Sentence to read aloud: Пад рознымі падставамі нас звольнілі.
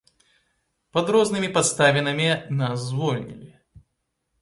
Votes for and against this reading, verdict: 0, 2, rejected